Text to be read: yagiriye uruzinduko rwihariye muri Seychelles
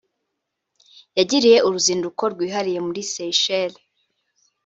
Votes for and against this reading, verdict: 3, 0, accepted